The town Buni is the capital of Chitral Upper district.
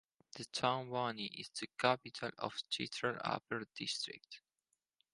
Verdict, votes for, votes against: accepted, 4, 0